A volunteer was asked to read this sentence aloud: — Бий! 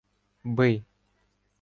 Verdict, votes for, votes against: accepted, 2, 0